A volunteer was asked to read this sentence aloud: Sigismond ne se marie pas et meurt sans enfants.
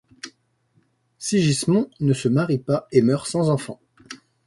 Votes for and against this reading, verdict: 2, 0, accepted